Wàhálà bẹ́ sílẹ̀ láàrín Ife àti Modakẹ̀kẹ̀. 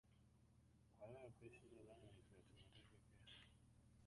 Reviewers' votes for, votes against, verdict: 0, 2, rejected